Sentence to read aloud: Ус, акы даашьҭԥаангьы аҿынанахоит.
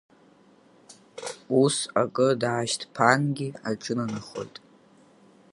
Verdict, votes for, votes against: accepted, 5, 4